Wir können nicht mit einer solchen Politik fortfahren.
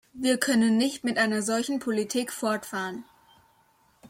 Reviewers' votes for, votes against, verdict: 2, 0, accepted